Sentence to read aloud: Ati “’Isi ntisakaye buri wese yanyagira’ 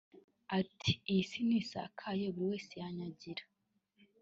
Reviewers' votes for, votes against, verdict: 1, 2, rejected